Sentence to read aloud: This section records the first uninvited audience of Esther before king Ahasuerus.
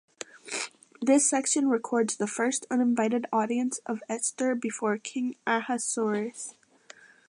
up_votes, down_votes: 2, 0